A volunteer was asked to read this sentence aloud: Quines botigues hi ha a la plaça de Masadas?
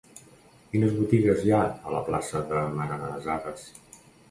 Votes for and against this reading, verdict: 1, 2, rejected